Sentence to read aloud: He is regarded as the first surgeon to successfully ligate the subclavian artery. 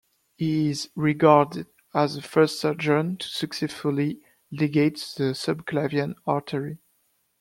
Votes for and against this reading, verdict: 1, 2, rejected